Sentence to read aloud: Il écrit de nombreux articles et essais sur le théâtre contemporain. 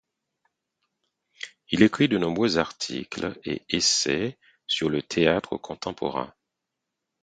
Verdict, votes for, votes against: accepted, 4, 0